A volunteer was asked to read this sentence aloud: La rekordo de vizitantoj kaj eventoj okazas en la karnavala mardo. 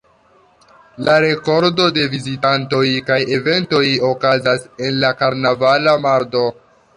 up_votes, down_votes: 1, 2